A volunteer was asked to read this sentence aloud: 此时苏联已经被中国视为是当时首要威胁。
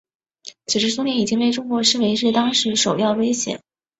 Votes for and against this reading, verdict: 3, 0, accepted